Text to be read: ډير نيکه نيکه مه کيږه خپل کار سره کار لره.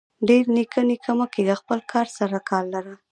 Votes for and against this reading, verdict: 0, 2, rejected